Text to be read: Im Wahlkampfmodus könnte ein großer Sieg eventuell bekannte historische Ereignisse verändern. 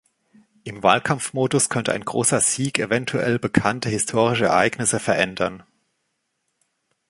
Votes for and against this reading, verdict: 2, 0, accepted